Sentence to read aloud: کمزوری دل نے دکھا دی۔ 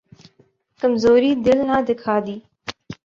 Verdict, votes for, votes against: rejected, 1, 2